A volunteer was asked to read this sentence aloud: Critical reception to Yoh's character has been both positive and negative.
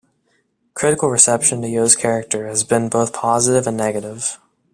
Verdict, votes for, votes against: accepted, 2, 0